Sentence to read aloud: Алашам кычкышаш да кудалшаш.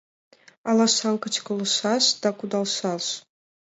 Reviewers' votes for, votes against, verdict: 1, 2, rejected